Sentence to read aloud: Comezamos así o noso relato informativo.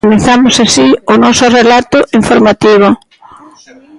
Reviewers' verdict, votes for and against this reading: accepted, 2, 0